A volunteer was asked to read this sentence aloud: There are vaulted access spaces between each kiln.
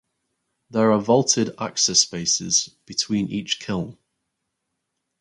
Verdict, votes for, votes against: accepted, 4, 0